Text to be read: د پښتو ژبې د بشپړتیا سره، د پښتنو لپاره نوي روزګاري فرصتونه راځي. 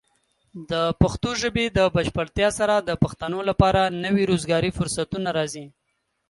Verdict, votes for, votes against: accepted, 2, 0